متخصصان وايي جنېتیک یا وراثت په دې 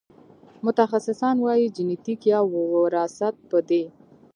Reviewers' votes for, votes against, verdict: 3, 0, accepted